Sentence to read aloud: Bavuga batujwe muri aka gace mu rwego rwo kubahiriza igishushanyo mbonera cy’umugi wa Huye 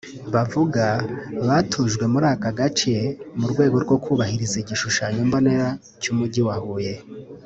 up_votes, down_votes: 2, 0